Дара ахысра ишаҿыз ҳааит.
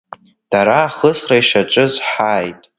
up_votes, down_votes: 2, 1